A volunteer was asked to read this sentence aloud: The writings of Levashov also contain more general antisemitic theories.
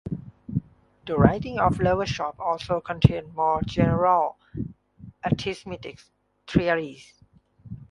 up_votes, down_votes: 0, 2